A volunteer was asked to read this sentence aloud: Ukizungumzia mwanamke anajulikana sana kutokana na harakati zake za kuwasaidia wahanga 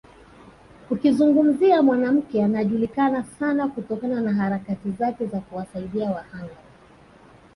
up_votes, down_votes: 2, 0